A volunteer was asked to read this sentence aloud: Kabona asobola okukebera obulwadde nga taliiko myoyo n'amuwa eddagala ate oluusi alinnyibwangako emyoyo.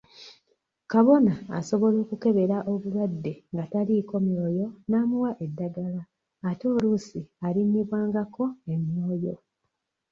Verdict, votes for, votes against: rejected, 0, 2